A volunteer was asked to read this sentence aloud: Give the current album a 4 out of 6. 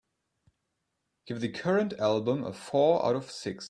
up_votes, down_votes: 0, 2